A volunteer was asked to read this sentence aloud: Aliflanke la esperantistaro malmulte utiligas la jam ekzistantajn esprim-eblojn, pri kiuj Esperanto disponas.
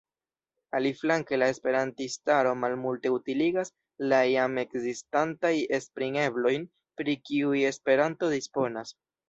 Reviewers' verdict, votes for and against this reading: rejected, 0, 2